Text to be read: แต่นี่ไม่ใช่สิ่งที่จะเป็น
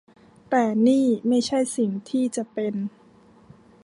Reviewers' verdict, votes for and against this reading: accepted, 2, 0